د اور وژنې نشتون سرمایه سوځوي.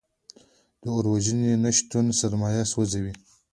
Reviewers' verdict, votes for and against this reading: accepted, 2, 0